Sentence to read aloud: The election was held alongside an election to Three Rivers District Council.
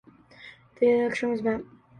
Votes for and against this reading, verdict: 1, 2, rejected